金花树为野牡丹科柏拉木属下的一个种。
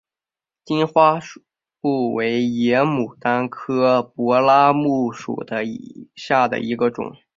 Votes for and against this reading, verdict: 3, 0, accepted